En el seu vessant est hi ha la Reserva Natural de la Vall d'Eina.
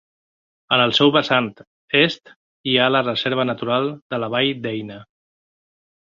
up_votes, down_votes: 1, 3